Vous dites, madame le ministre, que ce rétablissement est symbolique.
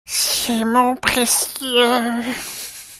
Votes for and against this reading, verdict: 0, 3, rejected